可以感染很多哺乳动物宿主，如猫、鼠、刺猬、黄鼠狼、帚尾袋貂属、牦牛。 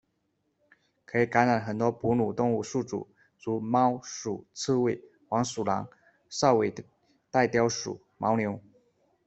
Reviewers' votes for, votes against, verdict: 1, 2, rejected